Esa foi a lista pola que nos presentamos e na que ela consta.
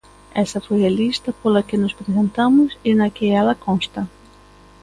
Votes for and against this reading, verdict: 2, 0, accepted